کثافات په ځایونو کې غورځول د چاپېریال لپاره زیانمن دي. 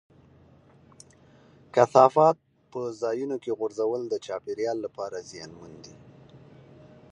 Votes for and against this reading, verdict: 2, 0, accepted